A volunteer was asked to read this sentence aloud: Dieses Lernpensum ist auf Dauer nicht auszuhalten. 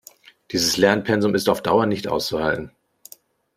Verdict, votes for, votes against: accepted, 2, 0